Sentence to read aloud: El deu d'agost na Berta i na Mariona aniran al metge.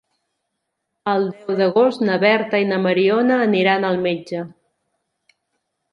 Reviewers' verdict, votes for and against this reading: rejected, 0, 3